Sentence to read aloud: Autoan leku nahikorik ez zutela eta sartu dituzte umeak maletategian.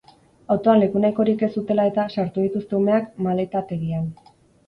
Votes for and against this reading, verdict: 2, 2, rejected